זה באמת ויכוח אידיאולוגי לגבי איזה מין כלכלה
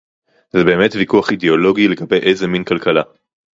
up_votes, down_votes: 2, 0